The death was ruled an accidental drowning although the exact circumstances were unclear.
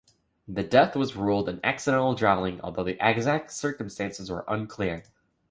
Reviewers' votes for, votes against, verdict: 2, 1, accepted